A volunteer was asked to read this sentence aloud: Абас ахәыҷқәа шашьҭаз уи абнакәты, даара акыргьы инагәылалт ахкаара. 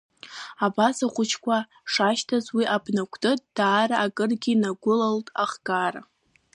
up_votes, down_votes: 2, 0